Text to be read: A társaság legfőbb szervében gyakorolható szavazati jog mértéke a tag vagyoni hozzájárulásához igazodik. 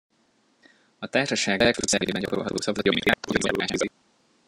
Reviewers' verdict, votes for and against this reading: rejected, 0, 2